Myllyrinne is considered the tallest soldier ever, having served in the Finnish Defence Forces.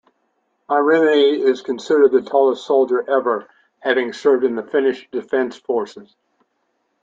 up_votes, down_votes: 2, 0